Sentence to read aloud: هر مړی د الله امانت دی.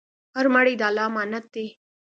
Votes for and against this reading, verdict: 2, 0, accepted